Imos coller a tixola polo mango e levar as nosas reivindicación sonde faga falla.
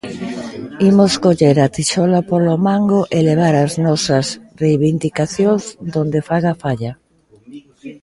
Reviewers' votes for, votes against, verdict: 0, 2, rejected